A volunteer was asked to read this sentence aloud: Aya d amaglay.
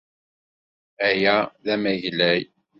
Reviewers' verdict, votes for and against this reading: accepted, 2, 0